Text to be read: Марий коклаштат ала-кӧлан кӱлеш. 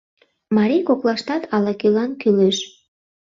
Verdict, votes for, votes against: accepted, 2, 0